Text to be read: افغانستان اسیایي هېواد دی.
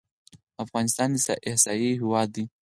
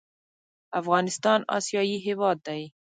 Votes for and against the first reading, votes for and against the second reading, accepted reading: 4, 0, 1, 2, first